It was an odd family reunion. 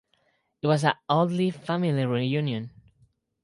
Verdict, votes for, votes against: rejected, 0, 2